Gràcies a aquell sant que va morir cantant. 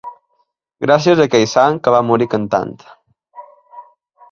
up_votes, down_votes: 2, 0